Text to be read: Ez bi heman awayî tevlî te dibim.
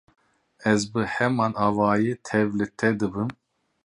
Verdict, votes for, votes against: rejected, 0, 2